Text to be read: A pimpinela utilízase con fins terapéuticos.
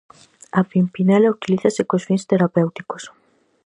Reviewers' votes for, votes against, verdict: 2, 2, rejected